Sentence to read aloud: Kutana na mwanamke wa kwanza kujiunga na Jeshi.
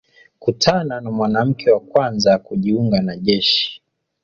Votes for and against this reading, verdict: 2, 1, accepted